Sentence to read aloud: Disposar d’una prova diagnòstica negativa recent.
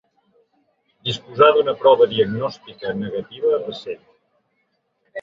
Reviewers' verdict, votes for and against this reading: rejected, 0, 2